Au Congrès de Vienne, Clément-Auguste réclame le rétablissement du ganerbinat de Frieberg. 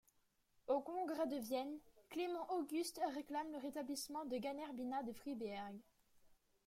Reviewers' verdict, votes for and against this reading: rejected, 1, 2